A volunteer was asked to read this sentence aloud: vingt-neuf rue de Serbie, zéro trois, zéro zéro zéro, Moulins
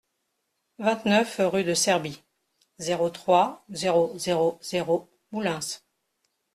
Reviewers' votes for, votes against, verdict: 0, 2, rejected